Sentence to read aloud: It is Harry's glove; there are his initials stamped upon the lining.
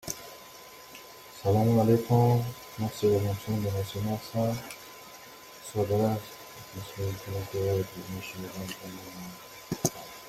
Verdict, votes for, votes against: rejected, 0, 2